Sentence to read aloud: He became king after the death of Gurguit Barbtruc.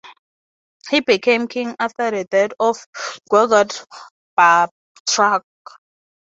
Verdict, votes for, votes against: accepted, 3, 0